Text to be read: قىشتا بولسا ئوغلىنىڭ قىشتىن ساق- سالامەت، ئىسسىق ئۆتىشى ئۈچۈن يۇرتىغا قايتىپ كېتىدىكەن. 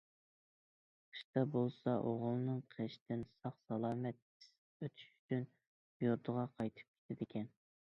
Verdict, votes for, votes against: rejected, 0, 2